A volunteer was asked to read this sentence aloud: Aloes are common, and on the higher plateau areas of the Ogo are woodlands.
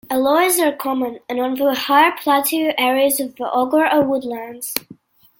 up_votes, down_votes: 2, 0